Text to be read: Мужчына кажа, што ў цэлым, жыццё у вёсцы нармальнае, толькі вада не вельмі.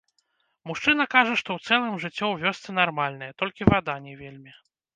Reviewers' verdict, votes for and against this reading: rejected, 1, 2